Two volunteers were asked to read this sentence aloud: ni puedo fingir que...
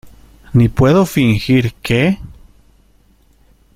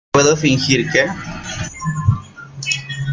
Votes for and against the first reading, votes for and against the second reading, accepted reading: 2, 0, 0, 2, first